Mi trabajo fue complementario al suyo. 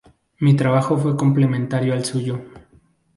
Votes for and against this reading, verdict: 2, 0, accepted